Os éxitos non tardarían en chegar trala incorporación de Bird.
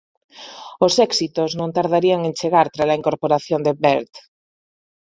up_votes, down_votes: 2, 0